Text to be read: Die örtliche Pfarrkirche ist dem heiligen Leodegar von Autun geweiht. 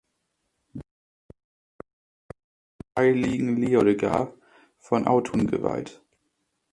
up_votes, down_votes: 0, 2